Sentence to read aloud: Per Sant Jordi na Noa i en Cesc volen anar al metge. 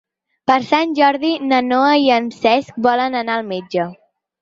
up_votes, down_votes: 6, 0